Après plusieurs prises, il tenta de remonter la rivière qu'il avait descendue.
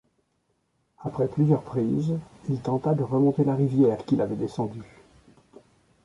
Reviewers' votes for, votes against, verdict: 2, 0, accepted